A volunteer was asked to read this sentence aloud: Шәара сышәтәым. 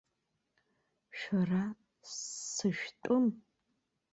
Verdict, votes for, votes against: rejected, 1, 2